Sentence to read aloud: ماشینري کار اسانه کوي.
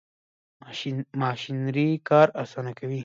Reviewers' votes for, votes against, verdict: 1, 2, rejected